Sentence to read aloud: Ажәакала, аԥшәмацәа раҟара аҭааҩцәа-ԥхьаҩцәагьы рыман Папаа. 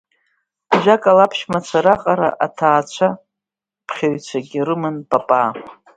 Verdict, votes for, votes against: rejected, 1, 2